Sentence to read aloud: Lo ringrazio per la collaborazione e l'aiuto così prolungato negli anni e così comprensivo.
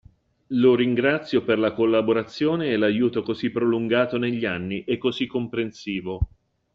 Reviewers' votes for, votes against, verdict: 2, 0, accepted